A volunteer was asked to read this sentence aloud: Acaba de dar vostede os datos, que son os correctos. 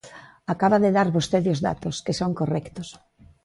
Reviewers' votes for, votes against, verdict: 1, 2, rejected